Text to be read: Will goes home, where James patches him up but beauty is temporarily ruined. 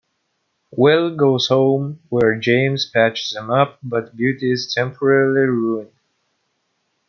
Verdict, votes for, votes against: rejected, 1, 2